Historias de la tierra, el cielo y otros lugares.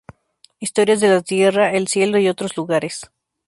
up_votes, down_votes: 4, 0